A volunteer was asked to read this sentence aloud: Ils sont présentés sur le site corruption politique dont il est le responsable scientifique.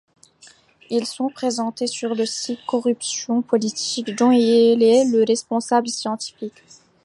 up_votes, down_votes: 1, 2